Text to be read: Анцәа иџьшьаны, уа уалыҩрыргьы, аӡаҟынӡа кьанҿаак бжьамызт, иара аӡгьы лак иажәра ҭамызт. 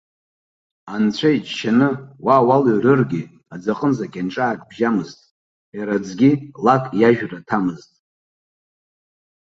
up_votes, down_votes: 2, 0